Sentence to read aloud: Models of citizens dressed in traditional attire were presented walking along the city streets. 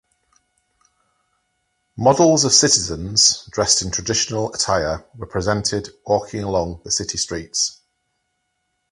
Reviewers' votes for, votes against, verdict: 4, 0, accepted